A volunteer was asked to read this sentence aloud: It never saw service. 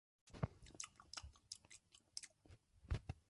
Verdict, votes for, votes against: rejected, 0, 2